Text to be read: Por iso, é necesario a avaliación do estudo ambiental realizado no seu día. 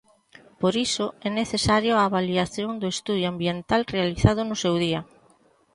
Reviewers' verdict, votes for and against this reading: rejected, 1, 2